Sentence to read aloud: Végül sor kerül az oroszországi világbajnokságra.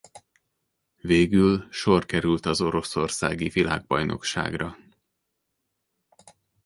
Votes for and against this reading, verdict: 0, 2, rejected